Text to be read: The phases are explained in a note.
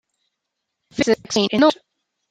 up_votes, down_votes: 1, 2